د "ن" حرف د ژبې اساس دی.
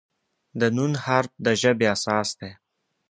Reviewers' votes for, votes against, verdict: 2, 0, accepted